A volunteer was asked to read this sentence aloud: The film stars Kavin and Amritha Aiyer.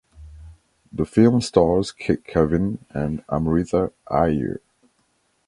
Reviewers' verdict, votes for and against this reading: accepted, 2, 0